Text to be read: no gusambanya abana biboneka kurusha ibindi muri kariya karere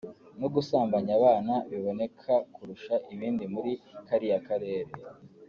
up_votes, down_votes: 3, 0